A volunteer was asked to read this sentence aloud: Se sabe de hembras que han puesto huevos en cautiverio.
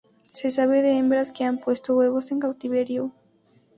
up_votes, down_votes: 0, 2